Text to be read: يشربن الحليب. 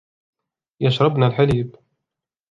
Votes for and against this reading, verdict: 2, 0, accepted